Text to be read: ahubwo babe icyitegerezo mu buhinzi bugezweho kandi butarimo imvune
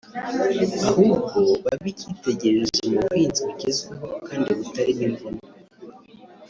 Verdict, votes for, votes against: rejected, 1, 2